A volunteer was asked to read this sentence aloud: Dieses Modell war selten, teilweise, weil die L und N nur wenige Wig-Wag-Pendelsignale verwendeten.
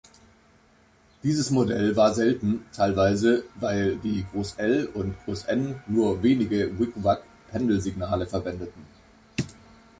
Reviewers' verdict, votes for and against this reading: rejected, 1, 2